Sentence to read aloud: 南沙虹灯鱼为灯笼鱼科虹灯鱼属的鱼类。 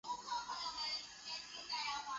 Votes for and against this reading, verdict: 0, 2, rejected